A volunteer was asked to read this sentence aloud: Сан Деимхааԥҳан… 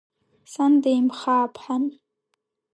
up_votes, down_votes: 2, 0